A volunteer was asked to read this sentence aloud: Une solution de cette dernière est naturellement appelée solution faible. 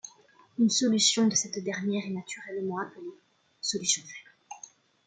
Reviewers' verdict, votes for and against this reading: rejected, 0, 2